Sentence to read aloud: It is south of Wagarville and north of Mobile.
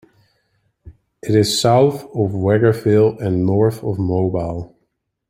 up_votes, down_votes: 0, 2